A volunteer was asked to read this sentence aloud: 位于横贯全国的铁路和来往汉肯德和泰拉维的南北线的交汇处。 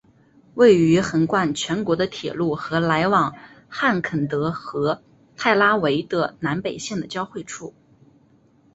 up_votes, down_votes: 3, 1